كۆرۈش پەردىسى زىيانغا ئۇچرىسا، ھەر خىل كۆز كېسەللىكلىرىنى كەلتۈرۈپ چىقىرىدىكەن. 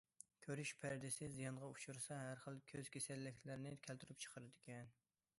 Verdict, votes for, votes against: accepted, 2, 0